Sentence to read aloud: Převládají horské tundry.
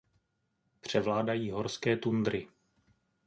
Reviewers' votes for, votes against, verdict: 2, 0, accepted